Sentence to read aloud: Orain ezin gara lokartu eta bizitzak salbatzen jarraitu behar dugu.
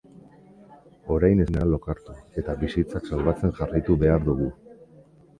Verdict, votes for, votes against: rejected, 1, 2